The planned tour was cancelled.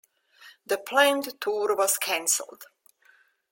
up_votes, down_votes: 1, 3